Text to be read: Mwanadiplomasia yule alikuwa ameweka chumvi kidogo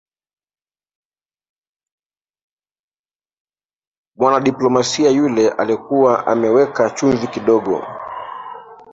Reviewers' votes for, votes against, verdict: 0, 2, rejected